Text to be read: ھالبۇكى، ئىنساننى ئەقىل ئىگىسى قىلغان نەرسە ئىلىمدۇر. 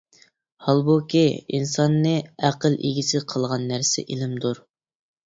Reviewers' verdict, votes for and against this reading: accepted, 2, 0